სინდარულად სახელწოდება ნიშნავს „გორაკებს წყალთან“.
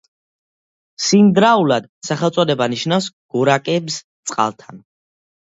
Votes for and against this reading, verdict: 1, 2, rejected